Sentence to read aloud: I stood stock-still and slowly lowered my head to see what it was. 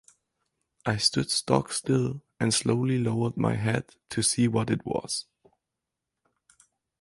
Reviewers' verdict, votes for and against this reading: accepted, 4, 0